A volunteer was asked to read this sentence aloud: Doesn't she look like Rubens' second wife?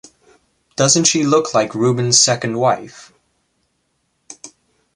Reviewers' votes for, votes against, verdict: 2, 0, accepted